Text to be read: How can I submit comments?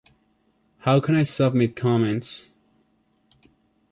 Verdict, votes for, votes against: accepted, 2, 0